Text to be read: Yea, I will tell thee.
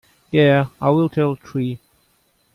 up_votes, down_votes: 0, 2